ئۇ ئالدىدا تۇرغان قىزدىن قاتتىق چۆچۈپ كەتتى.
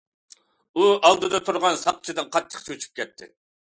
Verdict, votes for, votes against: rejected, 0, 2